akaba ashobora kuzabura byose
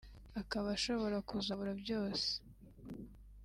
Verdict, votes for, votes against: accepted, 2, 0